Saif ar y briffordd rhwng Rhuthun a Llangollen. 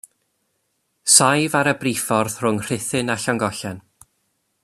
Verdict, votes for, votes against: accepted, 2, 0